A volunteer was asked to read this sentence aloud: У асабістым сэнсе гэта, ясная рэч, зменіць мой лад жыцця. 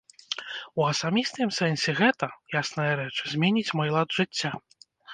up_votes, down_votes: 0, 2